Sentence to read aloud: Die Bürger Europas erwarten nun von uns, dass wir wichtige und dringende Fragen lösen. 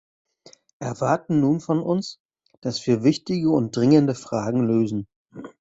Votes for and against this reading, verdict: 0, 2, rejected